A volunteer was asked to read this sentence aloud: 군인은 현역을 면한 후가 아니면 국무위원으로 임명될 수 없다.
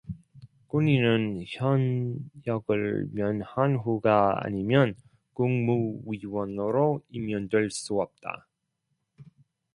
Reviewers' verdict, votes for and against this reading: rejected, 1, 2